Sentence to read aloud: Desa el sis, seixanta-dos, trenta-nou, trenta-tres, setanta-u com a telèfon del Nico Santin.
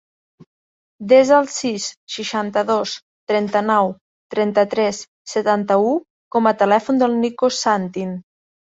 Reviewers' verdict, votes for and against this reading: accepted, 4, 0